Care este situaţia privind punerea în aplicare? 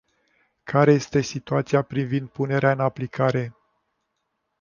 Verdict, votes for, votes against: rejected, 1, 2